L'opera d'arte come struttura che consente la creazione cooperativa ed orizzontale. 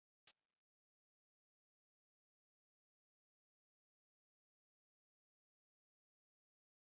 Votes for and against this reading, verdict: 0, 2, rejected